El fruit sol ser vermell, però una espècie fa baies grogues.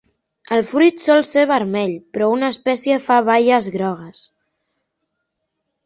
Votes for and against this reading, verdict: 4, 1, accepted